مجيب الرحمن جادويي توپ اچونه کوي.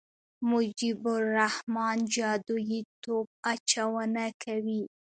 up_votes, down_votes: 2, 1